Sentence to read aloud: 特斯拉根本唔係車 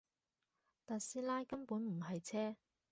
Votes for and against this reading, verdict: 2, 0, accepted